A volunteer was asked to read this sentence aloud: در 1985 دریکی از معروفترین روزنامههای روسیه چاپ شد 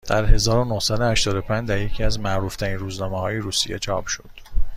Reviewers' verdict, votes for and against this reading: rejected, 0, 2